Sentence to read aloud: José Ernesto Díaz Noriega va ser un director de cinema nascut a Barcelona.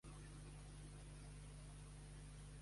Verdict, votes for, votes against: rejected, 0, 2